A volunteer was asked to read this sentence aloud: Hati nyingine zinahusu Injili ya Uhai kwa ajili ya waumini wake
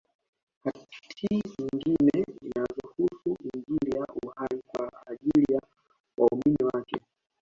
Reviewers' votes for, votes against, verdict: 0, 2, rejected